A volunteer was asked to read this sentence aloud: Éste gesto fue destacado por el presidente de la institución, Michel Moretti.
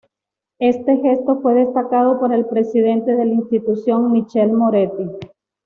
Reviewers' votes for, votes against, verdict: 2, 0, accepted